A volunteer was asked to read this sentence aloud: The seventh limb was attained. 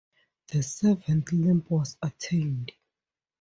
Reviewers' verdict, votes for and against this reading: accepted, 2, 0